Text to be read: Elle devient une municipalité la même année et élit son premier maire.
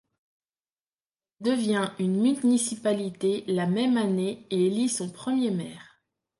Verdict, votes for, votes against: rejected, 1, 2